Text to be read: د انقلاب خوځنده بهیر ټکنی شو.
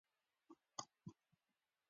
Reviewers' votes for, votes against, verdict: 1, 2, rejected